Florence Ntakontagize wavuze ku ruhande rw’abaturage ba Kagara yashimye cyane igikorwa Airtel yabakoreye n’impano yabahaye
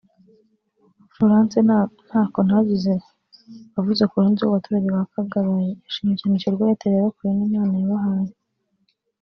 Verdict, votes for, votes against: rejected, 1, 2